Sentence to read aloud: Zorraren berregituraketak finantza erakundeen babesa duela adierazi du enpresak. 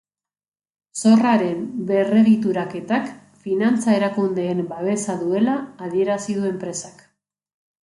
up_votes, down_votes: 2, 0